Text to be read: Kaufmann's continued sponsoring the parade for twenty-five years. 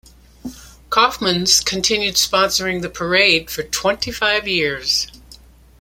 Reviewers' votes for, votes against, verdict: 2, 0, accepted